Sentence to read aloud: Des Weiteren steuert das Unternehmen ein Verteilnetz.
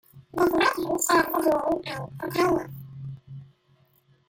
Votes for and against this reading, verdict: 0, 2, rejected